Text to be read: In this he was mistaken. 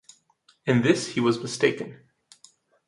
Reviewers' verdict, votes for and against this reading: accepted, 2, 0